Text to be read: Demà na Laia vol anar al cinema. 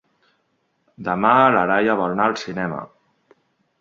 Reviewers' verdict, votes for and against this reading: rejected, 1, 2